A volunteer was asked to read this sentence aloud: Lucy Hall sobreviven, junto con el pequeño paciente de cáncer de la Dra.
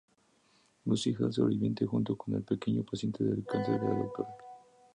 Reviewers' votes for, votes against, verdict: 0, 2, rejected